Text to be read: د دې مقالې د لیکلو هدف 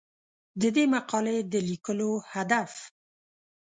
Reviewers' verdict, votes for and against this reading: accepted, 2, 0